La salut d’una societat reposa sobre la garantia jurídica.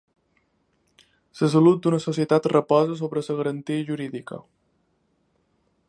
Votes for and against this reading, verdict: 1, 2, rejected